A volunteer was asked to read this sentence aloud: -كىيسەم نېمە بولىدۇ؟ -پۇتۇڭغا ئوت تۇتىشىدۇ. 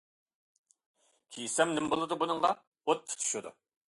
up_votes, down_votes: 0, 2